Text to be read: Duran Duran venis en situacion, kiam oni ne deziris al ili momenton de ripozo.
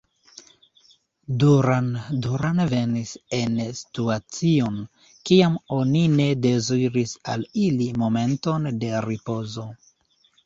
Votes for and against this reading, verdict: 2, 1, accepted